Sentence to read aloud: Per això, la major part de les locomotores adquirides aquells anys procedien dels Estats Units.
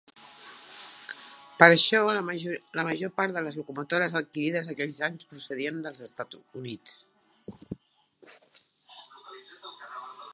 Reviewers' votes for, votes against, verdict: 0, 3, rejected